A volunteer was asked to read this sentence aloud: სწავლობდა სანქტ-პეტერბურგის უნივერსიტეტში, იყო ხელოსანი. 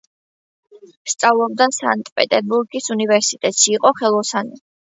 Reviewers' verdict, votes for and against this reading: accepted, 2, 0